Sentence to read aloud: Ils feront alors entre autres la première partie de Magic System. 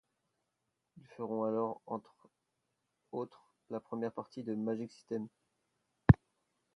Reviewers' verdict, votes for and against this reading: rejected, 0, 2